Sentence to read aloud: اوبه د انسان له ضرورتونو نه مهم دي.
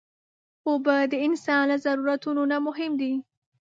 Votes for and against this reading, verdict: 4, 0, accepted